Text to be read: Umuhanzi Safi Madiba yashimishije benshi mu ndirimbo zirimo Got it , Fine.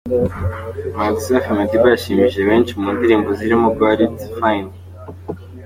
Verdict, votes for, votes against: accepted, 4, 0